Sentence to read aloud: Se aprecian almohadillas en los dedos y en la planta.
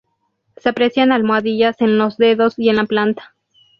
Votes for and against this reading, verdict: 2, 0, accepted